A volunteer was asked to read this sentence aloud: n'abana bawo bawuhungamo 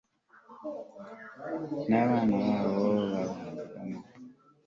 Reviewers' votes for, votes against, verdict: 1, 2, rejected